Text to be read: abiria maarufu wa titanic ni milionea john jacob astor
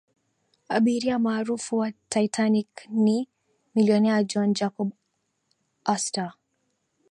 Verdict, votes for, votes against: accepted, 6, 0